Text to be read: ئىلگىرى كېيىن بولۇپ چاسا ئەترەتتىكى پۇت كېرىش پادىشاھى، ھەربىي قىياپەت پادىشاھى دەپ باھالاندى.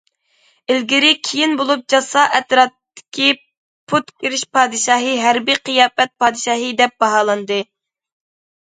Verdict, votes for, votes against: rejected, 0, 2